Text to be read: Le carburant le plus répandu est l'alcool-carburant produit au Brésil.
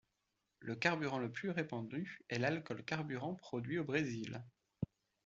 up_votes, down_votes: 2, 0